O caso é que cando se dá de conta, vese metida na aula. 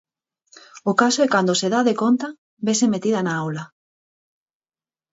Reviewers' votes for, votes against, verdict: 2, 4, rejected